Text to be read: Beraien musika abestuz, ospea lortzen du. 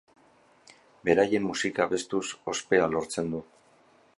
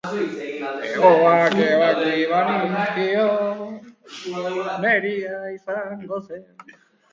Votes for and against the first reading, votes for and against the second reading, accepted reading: 2, 0, 0, 2, first